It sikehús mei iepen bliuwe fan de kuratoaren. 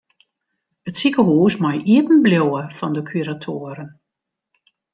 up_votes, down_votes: 2, 0